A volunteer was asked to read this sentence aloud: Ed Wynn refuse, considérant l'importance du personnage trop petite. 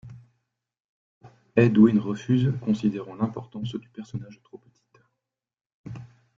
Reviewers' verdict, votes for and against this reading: rejected, 0, 2